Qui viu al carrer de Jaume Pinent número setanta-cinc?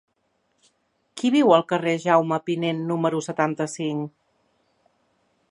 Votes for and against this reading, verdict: 1, 2, rejected